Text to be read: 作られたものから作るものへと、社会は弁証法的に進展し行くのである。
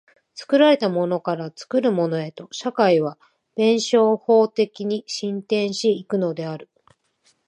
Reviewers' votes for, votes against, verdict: 2, 0, accepted